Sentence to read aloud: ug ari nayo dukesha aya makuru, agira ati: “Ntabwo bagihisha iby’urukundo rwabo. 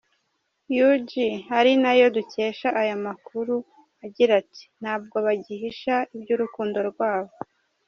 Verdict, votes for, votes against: accepted, 2, 0